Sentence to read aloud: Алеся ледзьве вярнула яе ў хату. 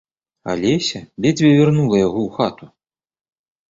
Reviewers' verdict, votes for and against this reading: rejected, 0, 2